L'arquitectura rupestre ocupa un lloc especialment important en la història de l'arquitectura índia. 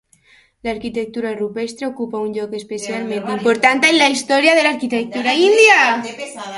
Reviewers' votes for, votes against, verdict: 0, 2, rejected